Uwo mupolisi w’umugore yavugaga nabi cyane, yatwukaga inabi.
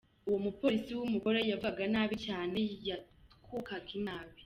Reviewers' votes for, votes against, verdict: 2, 0, accepted